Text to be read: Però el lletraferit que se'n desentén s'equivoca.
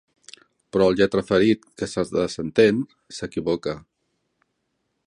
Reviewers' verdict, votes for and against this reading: rejected, 1, 2